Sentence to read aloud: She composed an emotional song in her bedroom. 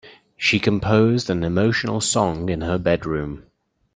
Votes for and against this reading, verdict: 2, 0, accepted